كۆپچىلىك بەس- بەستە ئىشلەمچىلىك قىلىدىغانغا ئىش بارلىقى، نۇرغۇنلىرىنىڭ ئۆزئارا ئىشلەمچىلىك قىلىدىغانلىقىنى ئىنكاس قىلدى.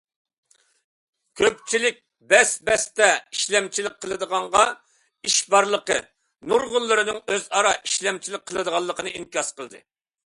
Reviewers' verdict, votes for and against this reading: accepted, 2, 0